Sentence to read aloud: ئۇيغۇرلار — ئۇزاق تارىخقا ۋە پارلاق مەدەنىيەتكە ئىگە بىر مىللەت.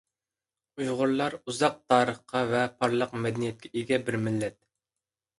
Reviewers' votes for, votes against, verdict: 2, 0, accepted